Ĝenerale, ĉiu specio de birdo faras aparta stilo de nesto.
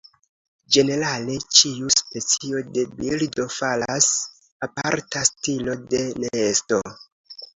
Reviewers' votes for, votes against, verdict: 2, 1, accepted